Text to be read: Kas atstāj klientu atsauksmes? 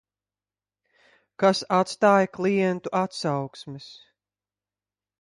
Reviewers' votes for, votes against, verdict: 2, 0, accepted